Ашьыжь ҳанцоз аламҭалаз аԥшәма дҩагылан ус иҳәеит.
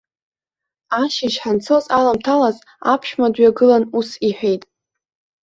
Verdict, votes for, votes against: accepted, 2, 0